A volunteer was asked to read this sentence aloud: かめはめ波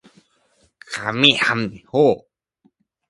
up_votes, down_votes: 0, 2